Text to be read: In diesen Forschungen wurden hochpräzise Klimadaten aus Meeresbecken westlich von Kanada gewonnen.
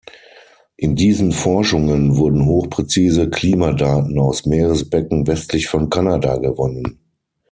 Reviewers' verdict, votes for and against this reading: accepted, 9, 0